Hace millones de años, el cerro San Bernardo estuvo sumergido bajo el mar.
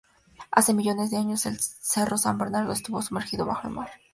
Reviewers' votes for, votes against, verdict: 2, 0, accepted